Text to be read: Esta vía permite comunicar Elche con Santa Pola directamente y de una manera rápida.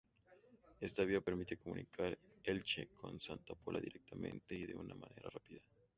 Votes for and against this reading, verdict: 2, 0, accepted